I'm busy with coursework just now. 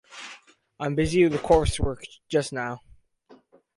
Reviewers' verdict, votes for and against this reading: rejected, 2, 2